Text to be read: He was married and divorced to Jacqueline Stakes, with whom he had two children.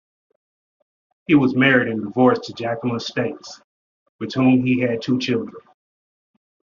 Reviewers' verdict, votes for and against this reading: accepted, 2, 0